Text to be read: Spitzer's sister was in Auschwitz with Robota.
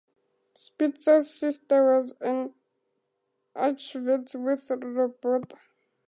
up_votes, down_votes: 0, 2